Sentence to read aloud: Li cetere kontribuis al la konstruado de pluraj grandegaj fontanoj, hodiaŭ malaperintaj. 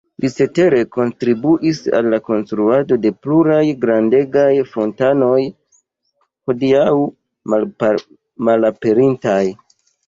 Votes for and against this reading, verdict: 1, 2, rejected